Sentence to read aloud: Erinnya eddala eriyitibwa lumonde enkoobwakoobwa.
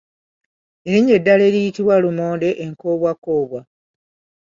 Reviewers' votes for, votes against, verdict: 2, 0, accepted